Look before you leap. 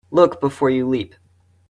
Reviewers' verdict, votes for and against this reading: accepted, 2, 0